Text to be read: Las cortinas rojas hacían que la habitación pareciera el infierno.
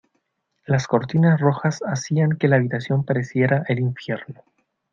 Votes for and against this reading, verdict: 2, 0, accepted